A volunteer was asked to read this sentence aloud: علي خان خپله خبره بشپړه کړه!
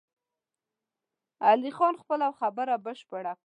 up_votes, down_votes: 7, 0